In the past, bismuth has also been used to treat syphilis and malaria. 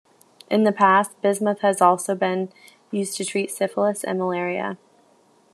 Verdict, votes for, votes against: accepted, 2, 0